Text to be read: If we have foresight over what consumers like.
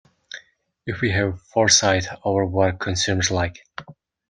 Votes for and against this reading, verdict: 2, 1, accepted